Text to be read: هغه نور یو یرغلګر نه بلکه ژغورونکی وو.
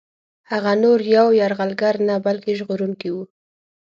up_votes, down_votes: 6, 0